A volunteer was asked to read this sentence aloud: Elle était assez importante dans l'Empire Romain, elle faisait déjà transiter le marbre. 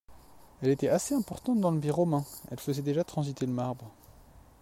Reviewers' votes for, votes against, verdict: 1, 2, rejected